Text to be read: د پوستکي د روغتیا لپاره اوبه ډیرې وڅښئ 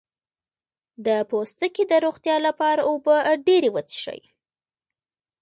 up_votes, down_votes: 2, 1